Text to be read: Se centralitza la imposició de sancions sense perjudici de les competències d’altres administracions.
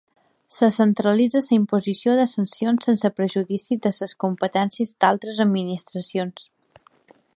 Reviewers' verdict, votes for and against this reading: rejected, 1, 2